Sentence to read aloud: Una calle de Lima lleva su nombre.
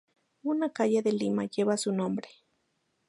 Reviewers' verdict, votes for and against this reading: accepted, 6, 0